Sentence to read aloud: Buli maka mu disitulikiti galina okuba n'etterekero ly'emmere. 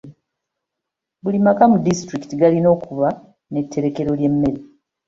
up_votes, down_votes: 2, 0